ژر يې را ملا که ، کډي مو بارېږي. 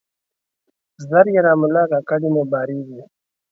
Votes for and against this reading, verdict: 2, 0, accepted